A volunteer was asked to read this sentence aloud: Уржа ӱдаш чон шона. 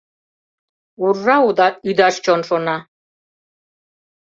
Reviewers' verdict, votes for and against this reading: rejected, 0, 2